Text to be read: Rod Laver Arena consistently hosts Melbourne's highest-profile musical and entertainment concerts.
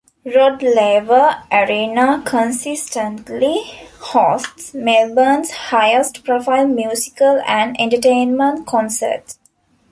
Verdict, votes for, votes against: accepted, 2, 0